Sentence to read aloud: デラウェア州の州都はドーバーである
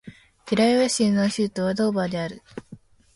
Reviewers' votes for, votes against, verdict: 6, 2, accepted